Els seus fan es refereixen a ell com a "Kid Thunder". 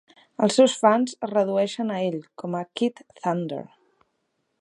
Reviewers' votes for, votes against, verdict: 0, 3, rejected